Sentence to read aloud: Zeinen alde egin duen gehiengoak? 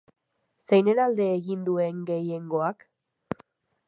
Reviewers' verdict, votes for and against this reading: accepted, 5, 0